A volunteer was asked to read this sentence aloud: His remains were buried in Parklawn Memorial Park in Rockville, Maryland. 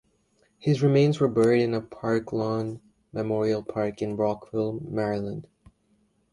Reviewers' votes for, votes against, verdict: 1, 2, rejected